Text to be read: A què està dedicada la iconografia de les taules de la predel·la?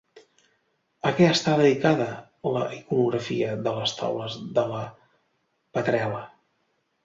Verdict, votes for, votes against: accepted, 2, 1